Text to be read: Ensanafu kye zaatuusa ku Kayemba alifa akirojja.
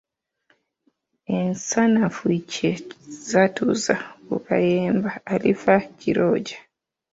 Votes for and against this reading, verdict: 0, 2, rejected